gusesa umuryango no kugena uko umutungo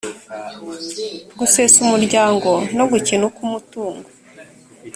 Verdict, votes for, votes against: rejected, 1, 2